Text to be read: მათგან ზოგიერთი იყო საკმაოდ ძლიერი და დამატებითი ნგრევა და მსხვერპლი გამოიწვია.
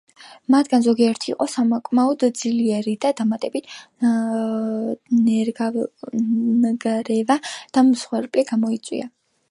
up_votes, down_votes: 0, 2